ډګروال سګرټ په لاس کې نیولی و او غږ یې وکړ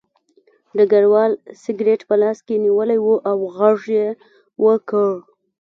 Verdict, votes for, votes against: accepted, 2, 0